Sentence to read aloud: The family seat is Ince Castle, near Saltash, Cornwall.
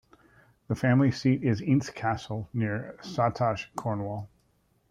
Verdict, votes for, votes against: rejected, 1, 2